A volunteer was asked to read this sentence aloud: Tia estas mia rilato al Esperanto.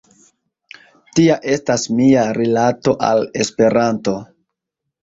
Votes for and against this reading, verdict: 2, 0, accepted